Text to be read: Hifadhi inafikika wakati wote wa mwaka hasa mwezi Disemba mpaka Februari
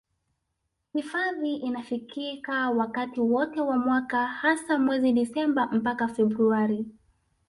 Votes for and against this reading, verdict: 3, 0, accepted